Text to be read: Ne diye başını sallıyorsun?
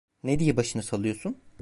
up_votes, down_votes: 1, 2